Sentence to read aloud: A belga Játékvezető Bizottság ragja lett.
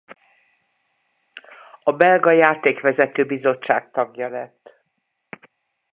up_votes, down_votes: 0, 2